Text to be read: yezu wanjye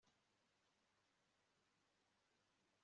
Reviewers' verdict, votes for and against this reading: rejected, 0, 2